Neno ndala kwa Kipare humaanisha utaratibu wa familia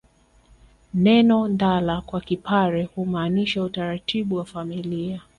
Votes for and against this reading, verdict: 2, 0, accepted